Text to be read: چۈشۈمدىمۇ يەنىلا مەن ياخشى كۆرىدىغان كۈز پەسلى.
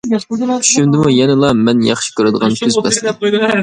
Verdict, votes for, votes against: rejected, 0, 2